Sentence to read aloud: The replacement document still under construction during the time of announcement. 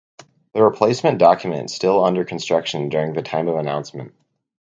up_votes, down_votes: 4, 0